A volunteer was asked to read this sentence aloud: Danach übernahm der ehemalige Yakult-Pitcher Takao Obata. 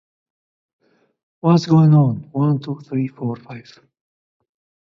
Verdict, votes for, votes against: rejected, 0, 2